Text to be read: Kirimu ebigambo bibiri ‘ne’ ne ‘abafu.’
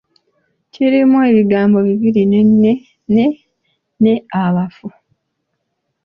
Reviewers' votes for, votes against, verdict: 2, 1, accepted